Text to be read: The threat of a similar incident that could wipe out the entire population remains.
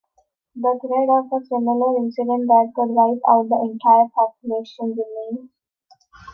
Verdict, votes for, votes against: accepted, 3, 0